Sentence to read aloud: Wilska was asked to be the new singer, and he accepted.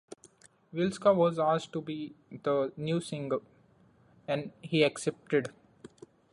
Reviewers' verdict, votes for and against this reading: accepted, 2, 0